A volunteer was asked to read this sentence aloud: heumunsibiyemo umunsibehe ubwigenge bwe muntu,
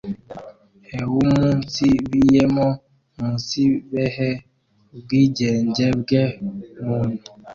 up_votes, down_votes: 1, 2